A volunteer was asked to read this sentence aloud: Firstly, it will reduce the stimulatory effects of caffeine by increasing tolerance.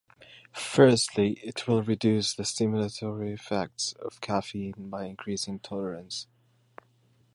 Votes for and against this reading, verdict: 2, 0, accepted